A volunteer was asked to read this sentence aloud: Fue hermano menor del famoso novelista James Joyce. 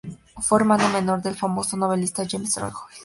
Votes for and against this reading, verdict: 2, 0, accepted